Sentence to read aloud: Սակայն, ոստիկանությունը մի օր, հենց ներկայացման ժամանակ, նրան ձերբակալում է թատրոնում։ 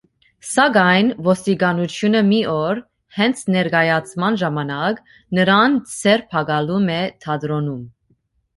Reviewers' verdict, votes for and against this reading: accepted, 2, 0